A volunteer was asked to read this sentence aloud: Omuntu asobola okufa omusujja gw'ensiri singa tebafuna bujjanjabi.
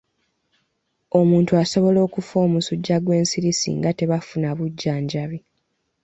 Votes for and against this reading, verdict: 2, 0, accepted